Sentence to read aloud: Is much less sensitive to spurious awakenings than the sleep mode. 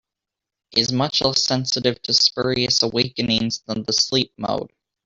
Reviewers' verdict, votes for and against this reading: rejected, 0, 2